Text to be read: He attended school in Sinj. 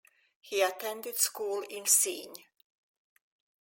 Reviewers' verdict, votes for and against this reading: accepted, 2, 1